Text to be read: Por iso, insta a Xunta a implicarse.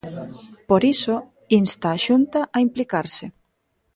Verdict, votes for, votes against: accepted, 2, 0